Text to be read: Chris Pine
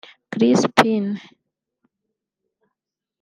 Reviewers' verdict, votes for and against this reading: rejected, 0, 2